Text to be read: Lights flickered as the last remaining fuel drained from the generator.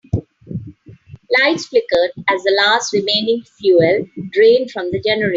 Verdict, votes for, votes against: rejected, 0, 2